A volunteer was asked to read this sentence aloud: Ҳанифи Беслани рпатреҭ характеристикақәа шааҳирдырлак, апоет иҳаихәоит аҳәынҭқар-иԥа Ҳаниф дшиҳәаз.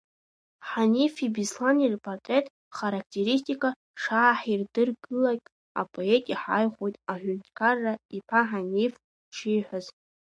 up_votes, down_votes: 2, 1